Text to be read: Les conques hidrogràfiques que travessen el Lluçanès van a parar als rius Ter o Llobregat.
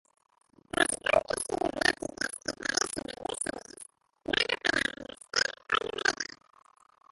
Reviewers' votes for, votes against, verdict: 0, 2, rejected